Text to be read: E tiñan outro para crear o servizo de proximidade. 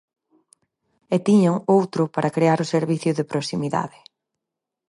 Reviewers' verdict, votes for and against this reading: rejected, 0, 4